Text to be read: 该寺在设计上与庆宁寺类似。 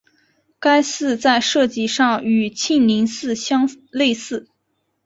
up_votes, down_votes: 0, 2